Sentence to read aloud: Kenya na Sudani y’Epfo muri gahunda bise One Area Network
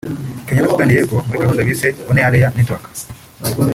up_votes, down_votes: 1, 2